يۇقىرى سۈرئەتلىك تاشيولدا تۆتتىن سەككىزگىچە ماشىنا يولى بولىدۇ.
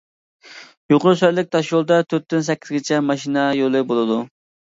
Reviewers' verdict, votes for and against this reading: rejected, 1, 2